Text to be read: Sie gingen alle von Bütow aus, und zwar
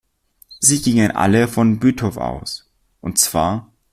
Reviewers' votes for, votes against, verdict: 2, 0, accepted